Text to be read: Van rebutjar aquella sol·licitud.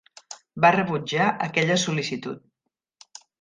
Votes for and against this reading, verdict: 0, 2, rejected